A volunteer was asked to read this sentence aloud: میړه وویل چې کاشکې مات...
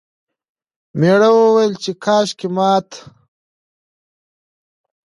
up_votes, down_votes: 2, 0